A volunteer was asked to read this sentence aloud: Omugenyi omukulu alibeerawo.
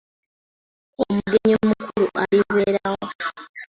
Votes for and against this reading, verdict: 0, 2, rejected